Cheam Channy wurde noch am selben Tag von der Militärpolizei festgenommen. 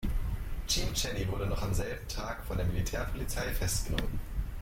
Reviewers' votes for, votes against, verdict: 2, 0, accepted